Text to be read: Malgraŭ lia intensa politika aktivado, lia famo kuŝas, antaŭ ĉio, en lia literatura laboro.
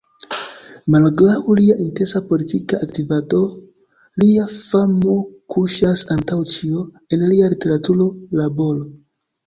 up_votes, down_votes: 2, 1